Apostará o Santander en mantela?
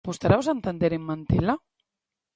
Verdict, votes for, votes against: rejected, 1, 2